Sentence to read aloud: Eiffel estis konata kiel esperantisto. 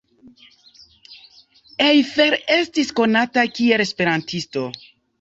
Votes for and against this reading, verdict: 2, 0, accepted